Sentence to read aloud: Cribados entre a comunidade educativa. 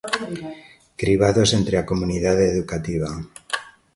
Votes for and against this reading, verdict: 2, 0, accepted